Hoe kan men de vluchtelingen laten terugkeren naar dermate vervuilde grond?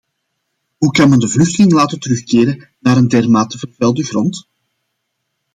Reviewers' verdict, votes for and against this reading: rejected, 0, 2